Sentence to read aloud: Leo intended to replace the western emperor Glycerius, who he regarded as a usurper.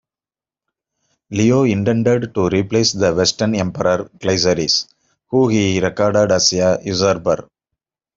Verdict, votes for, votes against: rejected, 1, 2